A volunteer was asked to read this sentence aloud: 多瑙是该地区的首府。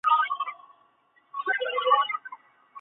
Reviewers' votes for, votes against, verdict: 0, 4, rejected